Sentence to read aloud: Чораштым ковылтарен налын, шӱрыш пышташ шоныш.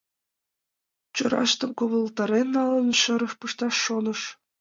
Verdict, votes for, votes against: accepted, 2, 0